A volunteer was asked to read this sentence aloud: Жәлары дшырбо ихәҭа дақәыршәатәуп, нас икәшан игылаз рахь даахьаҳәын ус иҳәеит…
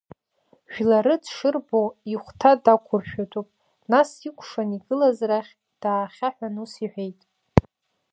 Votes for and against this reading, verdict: 2, 0, accepted